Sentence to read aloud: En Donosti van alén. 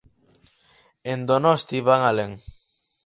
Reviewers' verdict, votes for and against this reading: accepted, 4, 0